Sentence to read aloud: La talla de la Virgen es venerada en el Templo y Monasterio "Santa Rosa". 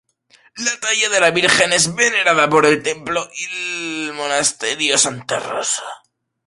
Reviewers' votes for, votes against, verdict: 0, 2, rejected